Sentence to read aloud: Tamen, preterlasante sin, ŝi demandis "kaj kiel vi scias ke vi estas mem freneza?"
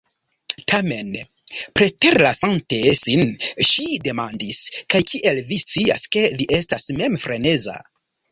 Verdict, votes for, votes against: accepted, 2, 0